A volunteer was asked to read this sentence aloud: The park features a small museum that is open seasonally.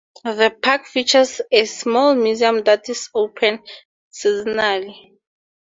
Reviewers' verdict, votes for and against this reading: accepted, 4, 0